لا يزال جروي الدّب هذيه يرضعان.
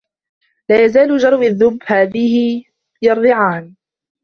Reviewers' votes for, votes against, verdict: 1, 2, rejected